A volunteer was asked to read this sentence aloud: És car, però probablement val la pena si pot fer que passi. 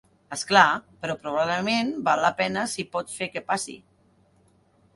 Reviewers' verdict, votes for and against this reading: rejected, 0, 2